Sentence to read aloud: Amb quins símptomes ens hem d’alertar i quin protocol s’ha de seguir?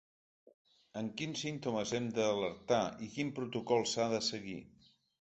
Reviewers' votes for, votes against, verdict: 1, 2, rejected